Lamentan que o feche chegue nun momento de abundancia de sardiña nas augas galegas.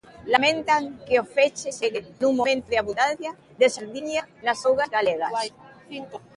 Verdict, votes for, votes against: rejected, 0, 2